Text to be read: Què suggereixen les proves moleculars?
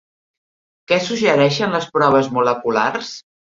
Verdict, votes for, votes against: rejected, 1, 2